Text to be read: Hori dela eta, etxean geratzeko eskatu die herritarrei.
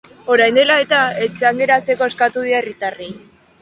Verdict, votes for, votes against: rejected, 1, 2